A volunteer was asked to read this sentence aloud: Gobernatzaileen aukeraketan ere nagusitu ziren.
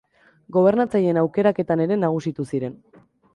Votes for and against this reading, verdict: 3, 0, accepted